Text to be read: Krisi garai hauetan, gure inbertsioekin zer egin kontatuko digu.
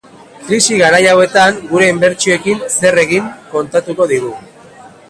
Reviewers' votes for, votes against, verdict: 0, 2, rejected